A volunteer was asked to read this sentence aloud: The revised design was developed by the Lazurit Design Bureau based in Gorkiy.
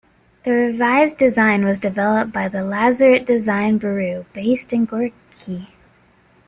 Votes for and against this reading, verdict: 1, 2, rejected